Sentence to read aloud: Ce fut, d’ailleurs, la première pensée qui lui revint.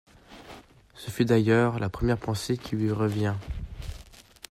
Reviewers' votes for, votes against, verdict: 0, 2, rejected